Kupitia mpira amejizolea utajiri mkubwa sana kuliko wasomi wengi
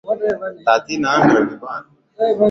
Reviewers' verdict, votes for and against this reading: rejected, 2, 6